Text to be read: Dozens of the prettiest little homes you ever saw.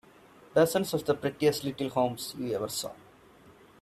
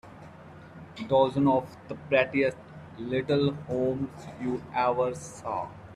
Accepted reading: first